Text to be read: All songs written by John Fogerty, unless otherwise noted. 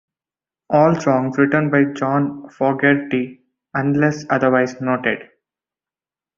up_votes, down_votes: 2, 0